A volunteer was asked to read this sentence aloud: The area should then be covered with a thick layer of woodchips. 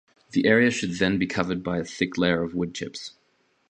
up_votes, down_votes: 0, 2